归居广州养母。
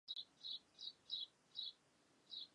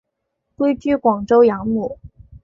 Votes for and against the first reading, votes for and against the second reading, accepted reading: 1, 2, 2, 0, second